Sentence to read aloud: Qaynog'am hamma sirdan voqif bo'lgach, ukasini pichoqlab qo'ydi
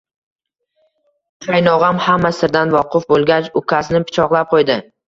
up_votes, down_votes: 2, 0